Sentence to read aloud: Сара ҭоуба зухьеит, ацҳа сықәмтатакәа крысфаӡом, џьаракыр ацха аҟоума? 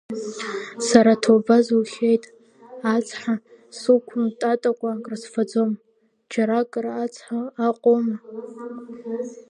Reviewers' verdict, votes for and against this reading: rejected, 0, 2